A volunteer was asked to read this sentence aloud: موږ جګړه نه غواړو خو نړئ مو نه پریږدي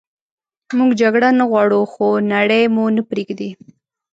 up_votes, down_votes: 4, 0